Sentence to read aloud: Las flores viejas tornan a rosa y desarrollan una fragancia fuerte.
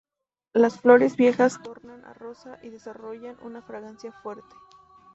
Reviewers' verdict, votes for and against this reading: accepted, 2, 0